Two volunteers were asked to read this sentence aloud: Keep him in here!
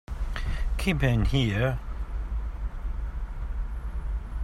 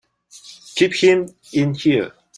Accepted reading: second